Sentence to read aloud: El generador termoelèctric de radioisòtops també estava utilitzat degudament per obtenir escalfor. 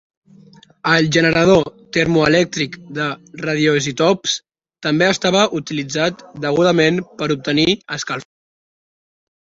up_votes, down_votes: 1, 2